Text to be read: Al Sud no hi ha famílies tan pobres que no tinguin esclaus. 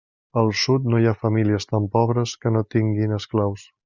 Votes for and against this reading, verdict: 3, 0, accepted